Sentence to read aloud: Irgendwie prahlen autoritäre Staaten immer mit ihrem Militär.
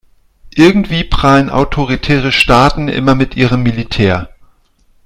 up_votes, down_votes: 2, 0